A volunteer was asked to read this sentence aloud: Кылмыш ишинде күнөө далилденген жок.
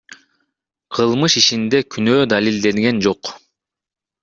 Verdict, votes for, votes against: accepted, 2, 0